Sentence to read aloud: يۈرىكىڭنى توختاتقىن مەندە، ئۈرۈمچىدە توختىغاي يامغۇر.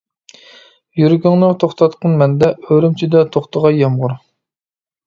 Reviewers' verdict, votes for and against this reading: accepted, 2, 1